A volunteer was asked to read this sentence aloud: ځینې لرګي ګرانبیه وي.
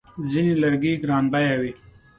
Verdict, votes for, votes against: accepted, 2, 0